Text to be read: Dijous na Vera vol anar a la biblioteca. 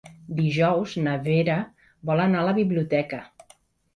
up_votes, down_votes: 3, 0